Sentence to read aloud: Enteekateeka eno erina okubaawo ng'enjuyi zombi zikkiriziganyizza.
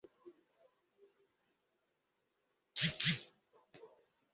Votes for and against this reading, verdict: 0, 2, rejected